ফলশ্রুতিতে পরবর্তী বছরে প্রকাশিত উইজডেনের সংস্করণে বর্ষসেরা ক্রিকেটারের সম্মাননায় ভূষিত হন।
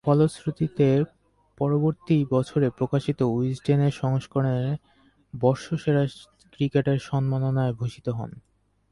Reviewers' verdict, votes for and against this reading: rejected, 4, 8